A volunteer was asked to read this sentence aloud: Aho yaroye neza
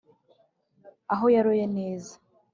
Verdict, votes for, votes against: accepted, 3, 0